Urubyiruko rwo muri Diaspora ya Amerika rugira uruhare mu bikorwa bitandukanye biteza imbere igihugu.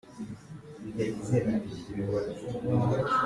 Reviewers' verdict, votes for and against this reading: rejected, 0, 2